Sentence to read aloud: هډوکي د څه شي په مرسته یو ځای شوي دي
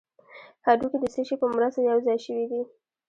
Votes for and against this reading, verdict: 2, 1, accepted